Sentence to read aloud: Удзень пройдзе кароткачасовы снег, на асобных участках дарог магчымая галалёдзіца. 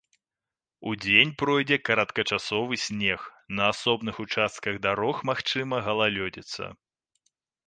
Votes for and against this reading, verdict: 2, 0, accepted